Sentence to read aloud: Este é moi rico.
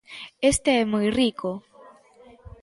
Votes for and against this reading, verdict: 2, 0, accepted